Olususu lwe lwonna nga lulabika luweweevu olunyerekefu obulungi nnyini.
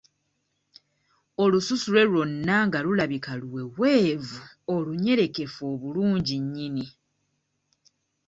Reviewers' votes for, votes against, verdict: 2, 0, accepted